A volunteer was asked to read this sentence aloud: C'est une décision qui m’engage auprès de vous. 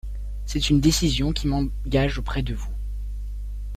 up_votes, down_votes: 0, 2